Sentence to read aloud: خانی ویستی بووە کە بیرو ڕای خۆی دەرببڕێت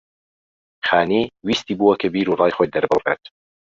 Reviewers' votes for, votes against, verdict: 2, 0, accepted